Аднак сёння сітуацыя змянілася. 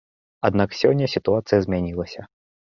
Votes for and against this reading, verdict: 2, 0, accepted